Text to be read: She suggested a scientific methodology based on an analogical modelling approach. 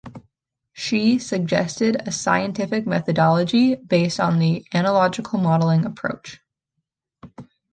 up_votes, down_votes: 0, 2